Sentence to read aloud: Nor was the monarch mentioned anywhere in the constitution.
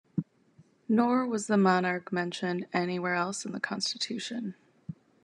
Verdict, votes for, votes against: rejected, 1, 2